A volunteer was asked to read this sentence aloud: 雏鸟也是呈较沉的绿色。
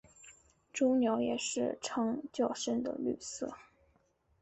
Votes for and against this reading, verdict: 2, 0, accepted